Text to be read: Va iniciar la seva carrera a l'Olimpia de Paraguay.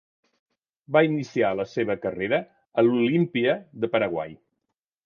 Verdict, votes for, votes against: accepted, 2, 0